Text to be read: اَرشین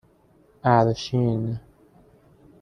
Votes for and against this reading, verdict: 2, 0, accepted